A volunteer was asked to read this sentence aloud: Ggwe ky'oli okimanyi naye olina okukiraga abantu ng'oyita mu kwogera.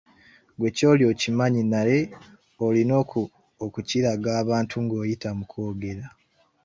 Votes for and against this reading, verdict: 1, 2, rejected